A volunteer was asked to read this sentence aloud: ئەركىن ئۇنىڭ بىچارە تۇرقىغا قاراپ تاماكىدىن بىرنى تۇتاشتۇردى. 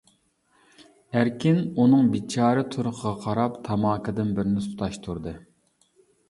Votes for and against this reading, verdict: 2, 0, accepted